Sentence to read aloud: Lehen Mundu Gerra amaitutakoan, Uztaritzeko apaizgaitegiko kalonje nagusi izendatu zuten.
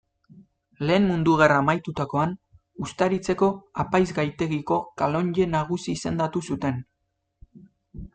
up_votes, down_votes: 2, 1